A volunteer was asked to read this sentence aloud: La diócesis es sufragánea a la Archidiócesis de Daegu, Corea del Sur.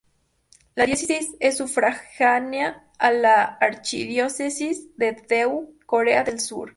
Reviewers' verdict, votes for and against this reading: rejected, 0, 2